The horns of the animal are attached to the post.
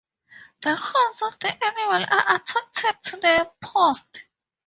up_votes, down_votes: 0, 2